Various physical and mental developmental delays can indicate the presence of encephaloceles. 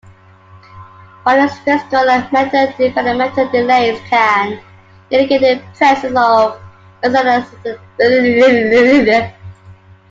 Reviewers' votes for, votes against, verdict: 0, 2, rejected